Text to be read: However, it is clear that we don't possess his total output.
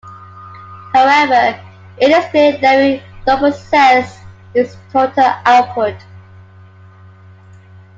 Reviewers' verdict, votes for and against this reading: accepted, 2, 0